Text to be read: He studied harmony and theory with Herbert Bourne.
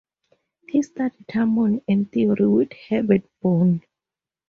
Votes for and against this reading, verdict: 2, 0, accepted